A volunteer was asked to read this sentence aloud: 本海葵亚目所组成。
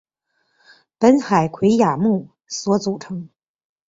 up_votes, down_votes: 2, 0